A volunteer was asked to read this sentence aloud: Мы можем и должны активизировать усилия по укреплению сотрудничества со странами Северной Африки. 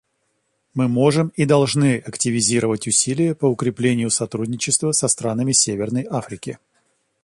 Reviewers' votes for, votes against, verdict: 2, 0, accepted